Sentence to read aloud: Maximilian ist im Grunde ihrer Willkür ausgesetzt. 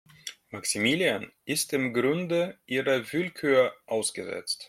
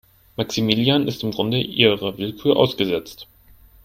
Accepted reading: first